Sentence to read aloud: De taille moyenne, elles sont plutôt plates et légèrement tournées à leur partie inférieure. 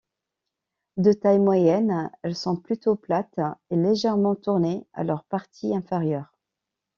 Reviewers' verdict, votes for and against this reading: accepted, 2, 0